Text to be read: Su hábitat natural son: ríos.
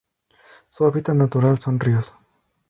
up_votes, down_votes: 2, 0